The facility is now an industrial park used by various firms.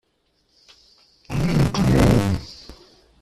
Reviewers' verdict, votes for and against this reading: rejected, 0, 2